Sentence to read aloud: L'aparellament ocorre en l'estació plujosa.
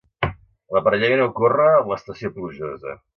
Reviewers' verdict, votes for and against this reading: accepted, 2, 0